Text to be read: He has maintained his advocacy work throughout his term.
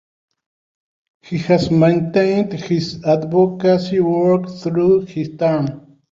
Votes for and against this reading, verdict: 1, 2, rejected